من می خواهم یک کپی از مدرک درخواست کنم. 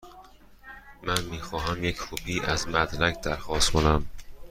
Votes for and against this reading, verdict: 2, 0, accepted